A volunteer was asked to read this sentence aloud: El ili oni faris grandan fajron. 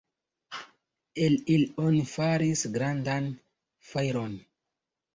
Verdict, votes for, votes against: accepted, 2, 0